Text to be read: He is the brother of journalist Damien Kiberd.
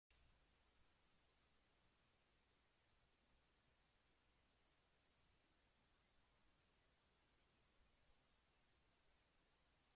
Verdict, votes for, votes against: rejected, 0, 2